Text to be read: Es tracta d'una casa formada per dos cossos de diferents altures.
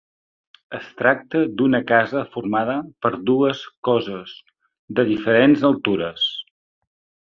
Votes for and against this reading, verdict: 0, 2, rejected